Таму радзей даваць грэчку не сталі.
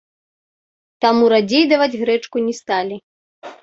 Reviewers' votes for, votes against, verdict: 1, 2, rejected